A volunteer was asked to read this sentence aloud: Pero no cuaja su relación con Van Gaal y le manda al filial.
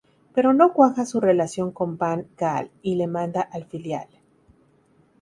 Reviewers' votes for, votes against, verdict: 0, 2, rejected